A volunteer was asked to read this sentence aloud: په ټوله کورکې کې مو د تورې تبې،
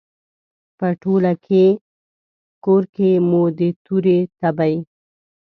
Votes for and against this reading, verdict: 1, 2, rejected